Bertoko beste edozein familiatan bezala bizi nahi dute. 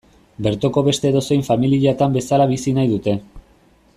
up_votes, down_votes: 2, 0